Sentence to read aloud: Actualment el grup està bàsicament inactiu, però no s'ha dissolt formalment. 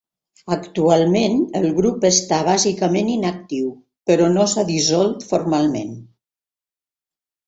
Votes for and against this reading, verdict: 2, 0, accepted